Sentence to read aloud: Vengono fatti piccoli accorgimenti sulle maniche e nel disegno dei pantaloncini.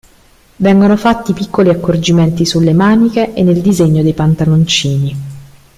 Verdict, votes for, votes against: accepted, 2, 0